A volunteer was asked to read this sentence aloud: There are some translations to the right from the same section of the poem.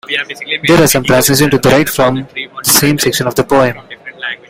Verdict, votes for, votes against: rejected, 0, 2